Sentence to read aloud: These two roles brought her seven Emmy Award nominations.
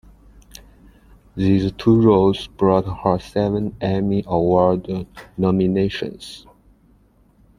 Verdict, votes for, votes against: accepted, 2, 0